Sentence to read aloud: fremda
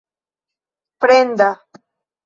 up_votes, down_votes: 1, 2